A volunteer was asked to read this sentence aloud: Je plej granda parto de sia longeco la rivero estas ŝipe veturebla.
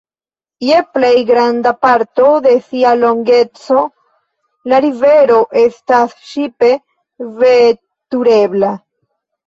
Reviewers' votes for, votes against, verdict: 2, 0, accepted